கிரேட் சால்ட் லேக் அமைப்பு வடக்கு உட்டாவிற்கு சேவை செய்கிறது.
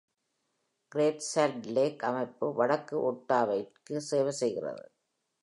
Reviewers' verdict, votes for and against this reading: rejected, 1, 2